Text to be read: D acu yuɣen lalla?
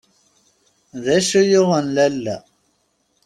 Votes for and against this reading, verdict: 2, 0, accepted